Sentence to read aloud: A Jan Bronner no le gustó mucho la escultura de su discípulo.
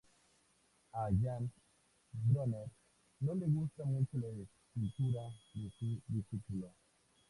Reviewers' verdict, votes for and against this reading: rejected, 0, 2